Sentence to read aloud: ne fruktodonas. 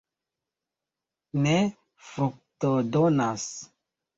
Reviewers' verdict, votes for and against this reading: rejected, 0, 3